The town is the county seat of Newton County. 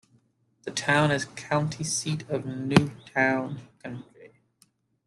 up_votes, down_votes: 0, 2